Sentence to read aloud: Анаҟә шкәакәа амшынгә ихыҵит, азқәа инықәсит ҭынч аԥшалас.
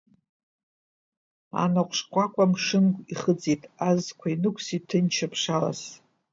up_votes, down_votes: 0, 2